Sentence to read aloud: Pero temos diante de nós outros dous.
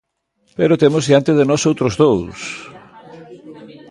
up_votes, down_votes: 0, 2